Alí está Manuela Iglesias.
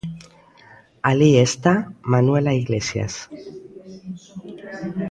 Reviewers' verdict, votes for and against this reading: rejected, 0, 2